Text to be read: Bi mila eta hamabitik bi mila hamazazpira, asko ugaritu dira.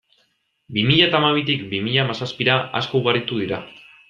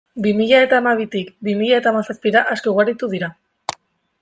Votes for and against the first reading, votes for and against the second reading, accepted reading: 2, 0, 0, 2, first